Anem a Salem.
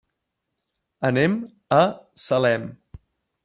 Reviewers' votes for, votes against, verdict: 3, 0, accepted